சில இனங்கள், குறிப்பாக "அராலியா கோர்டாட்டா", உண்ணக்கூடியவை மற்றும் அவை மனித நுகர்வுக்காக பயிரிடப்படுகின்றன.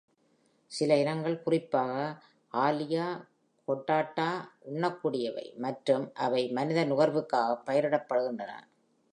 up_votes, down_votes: 0, 2